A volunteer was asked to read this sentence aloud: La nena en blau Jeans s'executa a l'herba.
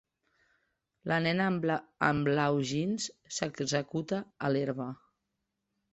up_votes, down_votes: 0, 2